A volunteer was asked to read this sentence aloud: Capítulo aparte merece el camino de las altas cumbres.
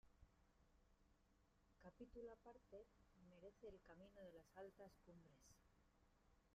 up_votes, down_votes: 0, 2